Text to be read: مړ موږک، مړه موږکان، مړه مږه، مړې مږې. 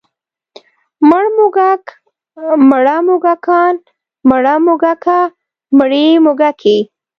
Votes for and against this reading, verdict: 1, 2, rejected